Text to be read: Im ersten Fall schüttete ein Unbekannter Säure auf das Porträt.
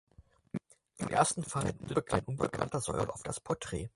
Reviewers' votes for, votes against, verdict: 0, 4, rejected